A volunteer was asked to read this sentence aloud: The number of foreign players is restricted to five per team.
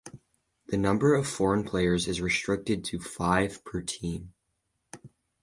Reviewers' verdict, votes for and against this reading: accepted, 10, 0